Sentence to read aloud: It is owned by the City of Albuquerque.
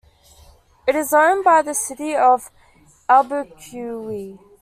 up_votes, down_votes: 0, 2